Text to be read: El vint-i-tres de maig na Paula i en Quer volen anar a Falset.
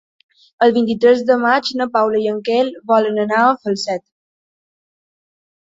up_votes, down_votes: 2, 0